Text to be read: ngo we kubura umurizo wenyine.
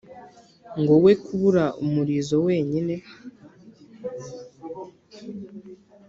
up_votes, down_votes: 2, 0